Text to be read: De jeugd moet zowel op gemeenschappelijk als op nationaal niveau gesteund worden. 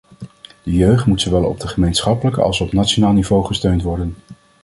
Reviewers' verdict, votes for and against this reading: rejected, 1, 2